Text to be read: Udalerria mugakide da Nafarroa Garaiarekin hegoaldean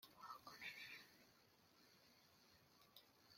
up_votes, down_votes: 0, 2